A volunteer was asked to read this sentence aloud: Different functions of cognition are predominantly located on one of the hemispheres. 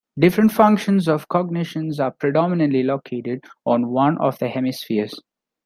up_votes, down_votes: 0, 2